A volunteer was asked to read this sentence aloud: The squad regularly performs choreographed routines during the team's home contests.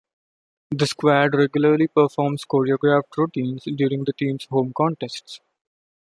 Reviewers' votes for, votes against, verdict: 1, 2, rejected